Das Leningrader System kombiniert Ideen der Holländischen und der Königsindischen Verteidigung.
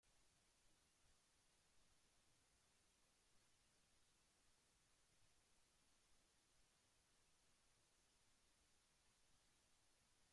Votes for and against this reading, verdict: 0, 2, rejected